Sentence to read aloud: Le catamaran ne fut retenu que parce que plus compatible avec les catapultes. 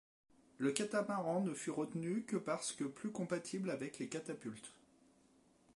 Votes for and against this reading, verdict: 0, 2, rejected